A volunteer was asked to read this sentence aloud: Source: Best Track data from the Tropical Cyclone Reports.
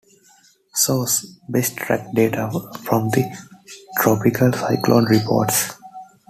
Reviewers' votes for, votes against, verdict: 2, 1, accepted